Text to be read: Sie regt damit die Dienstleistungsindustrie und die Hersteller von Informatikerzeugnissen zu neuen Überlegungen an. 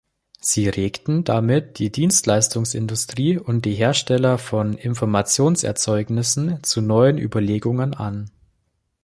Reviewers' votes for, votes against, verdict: 0, 2, rejected